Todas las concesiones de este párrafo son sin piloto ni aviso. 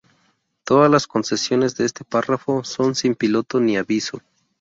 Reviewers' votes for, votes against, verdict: 2, 0, accepted